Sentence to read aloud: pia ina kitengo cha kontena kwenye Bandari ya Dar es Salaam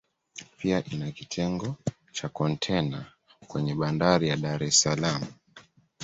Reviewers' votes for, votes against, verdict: 2, 0, accepted